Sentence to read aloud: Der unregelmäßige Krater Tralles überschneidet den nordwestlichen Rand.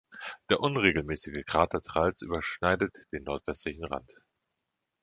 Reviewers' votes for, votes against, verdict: 1, 2, rejected